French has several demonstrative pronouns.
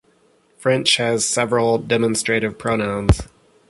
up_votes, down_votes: 2, 0